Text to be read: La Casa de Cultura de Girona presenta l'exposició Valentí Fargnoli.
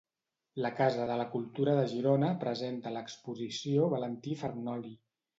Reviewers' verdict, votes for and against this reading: rejected, 1, 2